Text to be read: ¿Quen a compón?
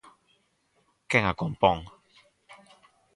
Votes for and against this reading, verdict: 4, 0, accepted